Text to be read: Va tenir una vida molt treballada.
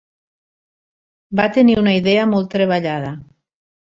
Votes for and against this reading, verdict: 1, 2, rejected